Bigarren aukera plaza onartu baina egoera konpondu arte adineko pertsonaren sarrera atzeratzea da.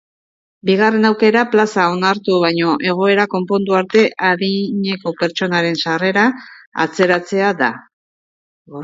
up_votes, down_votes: 1, 2